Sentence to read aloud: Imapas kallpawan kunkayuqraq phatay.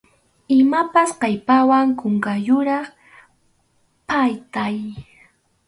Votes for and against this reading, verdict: 2, 2, rejected